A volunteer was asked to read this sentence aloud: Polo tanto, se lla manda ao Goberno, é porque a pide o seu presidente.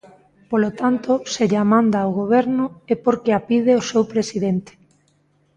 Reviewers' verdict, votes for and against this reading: accepted, 2, 0